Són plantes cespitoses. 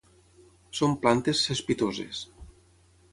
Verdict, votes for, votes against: accepted, 6, 0